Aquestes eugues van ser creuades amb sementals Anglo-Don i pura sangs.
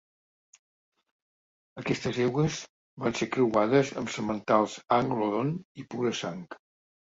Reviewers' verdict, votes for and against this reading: accepted, 2, 0